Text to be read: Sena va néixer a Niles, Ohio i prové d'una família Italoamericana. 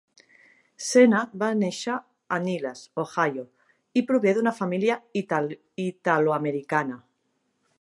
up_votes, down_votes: 0, 2